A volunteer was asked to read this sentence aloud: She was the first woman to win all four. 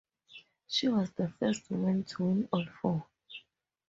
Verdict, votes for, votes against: rejected, 0, 2